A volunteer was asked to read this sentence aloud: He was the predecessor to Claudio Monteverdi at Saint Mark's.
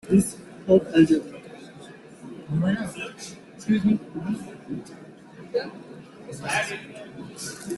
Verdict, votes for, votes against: rejected, 0, 2